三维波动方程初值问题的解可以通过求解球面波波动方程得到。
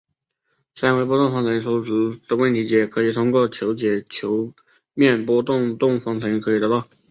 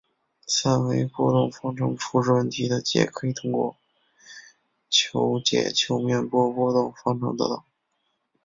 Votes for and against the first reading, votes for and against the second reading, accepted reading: 2, 1, 1, 2, first